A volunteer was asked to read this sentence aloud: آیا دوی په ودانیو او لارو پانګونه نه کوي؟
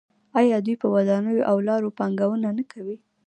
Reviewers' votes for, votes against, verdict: 0, 2, rejected